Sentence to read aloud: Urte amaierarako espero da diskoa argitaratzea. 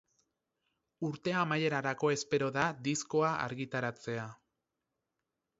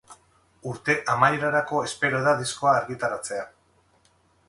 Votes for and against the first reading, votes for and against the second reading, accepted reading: 4, 0, 2, 2, first